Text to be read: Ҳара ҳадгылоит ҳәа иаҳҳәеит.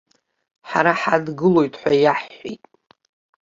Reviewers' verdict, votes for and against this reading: accepted, 2, 0